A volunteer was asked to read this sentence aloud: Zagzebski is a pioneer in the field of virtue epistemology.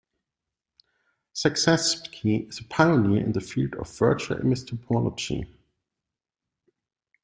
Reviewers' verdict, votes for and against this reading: rejected, 1, 2